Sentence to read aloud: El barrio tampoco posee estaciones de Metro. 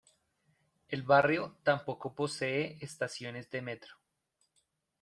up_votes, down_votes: 2, 0